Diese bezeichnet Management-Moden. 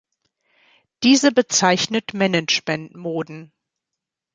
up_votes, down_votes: 2, 0